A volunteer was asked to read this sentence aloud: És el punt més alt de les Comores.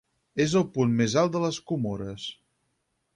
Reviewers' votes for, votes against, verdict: 6, 2, accepted